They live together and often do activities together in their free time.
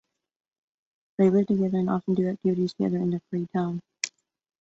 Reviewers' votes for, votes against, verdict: 0, 2, rejected